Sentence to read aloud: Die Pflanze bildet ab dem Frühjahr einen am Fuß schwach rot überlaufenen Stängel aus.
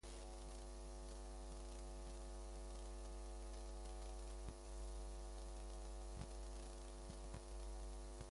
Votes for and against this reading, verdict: 0, 2, rejected